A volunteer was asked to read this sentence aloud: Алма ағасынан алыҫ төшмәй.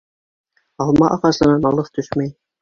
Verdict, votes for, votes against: rejected, 1, 2